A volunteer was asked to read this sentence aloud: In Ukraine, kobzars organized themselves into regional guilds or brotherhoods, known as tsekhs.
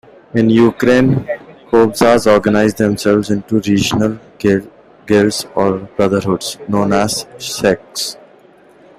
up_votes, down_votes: 2, 1